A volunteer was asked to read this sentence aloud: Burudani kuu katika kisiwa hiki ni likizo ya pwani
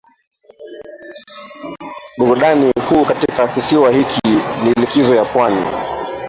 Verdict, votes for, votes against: rejected, 0, 2